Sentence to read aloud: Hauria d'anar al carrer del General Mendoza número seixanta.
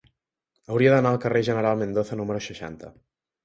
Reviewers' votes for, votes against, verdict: 0, 2, rejected